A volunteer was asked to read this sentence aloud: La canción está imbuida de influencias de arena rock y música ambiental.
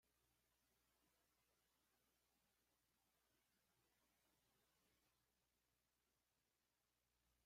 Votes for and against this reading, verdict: 0, 2, rejected